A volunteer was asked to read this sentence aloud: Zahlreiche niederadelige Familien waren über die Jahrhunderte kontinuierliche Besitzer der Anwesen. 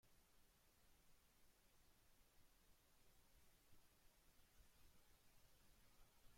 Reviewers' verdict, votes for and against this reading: rejected, 0, 2